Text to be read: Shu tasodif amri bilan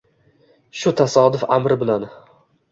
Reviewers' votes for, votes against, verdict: 2, 0, accepted